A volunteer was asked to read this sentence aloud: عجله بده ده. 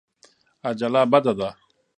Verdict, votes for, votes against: accepted, 2, 0